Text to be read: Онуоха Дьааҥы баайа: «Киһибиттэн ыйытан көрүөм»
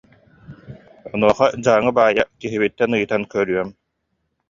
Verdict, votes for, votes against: rejected, 1, 2